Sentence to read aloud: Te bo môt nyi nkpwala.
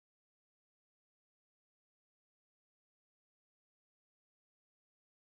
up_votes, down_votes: 0, 2